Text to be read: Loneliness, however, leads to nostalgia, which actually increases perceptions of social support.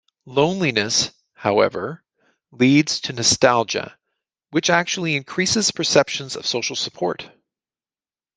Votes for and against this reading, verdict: 2, 0, accepted